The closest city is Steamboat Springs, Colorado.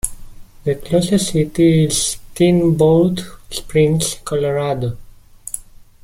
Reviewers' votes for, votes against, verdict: 2, 0, accepted